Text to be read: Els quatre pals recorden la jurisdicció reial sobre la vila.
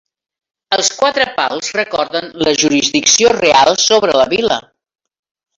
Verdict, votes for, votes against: accepted, 2, 1